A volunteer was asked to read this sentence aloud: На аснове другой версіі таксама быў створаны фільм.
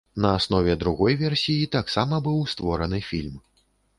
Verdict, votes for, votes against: accepted, 2, 0